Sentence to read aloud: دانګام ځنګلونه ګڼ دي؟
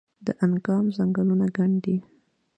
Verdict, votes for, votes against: rejected, 1, 2